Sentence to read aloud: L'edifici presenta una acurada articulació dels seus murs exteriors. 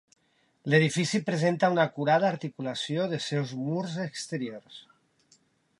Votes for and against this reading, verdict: 2, 0, accepted